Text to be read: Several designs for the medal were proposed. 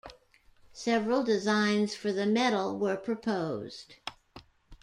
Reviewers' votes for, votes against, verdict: 2, 0, accepted